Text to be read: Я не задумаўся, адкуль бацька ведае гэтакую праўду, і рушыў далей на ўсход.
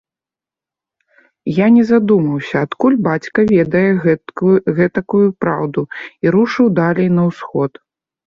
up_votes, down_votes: 0, 2